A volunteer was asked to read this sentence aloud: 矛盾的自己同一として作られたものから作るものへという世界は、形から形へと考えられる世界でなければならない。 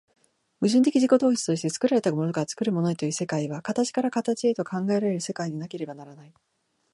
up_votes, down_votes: 4, 0